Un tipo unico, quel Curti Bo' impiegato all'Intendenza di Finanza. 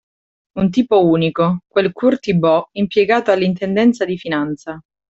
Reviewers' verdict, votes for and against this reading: accepted, 2, 0